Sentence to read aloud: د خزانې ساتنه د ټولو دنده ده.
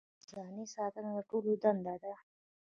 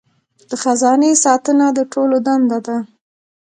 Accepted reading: first